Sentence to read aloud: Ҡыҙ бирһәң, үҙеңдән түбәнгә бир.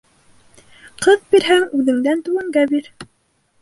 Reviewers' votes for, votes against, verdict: 2, 0, accepted